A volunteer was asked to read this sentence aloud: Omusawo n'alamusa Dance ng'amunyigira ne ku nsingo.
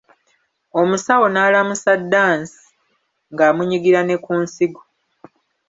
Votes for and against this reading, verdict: 1, 2, rejected